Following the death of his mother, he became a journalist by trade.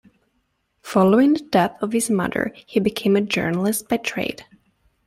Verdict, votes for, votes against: rejected, 0, 2